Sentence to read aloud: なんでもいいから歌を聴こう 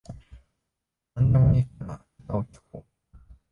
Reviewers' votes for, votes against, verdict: 0, 2, rejected